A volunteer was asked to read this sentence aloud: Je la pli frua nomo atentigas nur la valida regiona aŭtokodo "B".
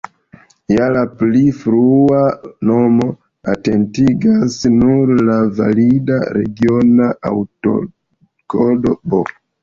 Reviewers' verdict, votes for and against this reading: rejected, 1, 2